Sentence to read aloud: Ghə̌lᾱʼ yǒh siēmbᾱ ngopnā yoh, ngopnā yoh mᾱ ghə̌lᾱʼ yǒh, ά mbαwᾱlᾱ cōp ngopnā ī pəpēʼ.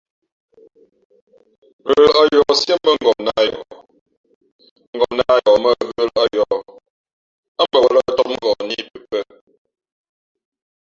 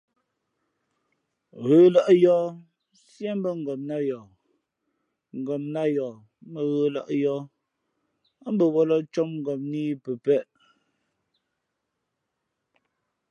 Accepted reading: second